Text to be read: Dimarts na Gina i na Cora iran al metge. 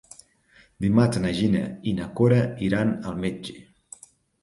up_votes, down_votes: 3, 0